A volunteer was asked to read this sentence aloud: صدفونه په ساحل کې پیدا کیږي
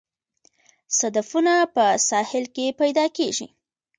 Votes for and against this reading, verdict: 0, 2, rejected